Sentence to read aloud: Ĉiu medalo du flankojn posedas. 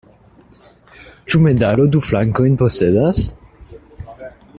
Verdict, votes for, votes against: rejected, 0, 2